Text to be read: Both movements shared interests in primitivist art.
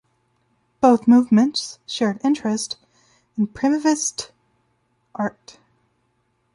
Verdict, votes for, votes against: accepted, 2, 0